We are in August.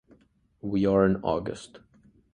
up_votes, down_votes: 2, 0